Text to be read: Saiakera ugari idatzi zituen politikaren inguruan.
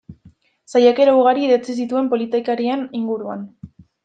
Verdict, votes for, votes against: rejected, 1, 2